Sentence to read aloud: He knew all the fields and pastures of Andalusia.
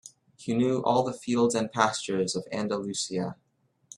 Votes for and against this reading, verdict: 2, 0, accepted